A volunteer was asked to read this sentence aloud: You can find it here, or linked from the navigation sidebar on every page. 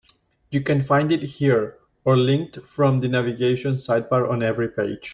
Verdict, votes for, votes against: accepted, 2, 0